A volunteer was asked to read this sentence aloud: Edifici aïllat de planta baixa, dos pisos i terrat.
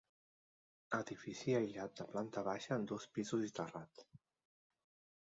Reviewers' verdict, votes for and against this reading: rejected, 1, 2